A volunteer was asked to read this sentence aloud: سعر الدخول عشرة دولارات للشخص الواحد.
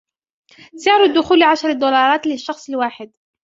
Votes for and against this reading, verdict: 2, 0, accepted